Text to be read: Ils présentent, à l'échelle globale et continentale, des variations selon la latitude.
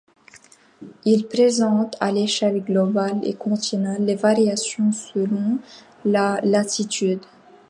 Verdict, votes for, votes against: accepted, 2, 1